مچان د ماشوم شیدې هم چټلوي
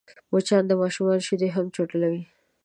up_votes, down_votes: 2, 0